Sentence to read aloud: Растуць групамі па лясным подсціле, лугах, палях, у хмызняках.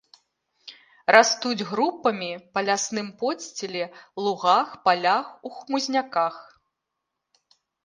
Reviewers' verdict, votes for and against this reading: accepted, 2, 0